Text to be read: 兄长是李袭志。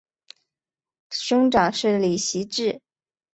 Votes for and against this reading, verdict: 2, 0, accepted